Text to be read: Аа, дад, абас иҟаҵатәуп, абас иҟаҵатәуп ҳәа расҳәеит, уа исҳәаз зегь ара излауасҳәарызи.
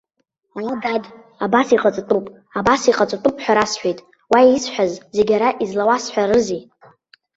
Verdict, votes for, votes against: rejected, 1, 2